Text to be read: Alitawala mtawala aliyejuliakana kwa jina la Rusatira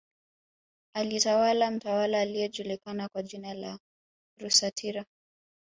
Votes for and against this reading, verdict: 1, 2, rejected